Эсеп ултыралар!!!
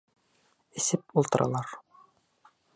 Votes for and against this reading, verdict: 1, 2, rejected